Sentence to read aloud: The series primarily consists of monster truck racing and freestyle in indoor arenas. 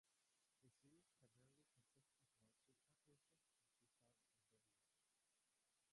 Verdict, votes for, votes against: rejected, 0, 4